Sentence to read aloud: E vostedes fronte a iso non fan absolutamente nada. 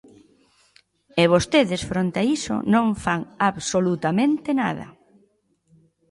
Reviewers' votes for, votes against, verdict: 2, 0, accepted